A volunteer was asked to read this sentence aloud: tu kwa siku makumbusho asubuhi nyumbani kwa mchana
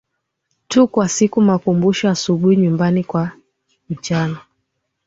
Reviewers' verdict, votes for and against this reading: accepted, 2, 0